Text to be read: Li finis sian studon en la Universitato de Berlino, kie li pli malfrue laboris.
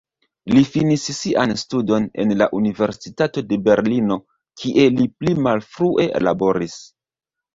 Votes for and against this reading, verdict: 1, 2, rejected